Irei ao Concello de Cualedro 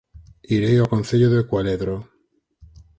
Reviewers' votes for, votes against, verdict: 4, 2, accepted